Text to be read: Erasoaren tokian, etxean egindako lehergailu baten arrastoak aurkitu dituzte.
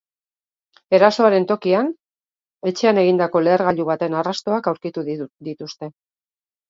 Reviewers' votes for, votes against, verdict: 1, 3, rejected